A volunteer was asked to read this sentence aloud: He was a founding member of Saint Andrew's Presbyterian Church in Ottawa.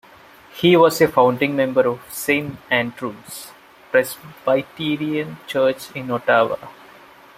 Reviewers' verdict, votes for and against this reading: accepted, 2, 0